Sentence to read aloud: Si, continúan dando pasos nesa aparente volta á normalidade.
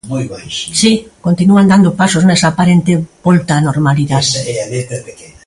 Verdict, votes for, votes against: rejected, 1, 2